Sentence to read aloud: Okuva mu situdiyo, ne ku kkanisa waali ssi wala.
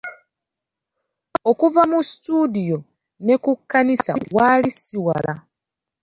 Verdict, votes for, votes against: accepted, 2, 0